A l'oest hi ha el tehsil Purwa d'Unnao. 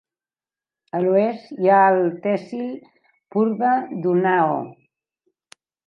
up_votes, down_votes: 2, 0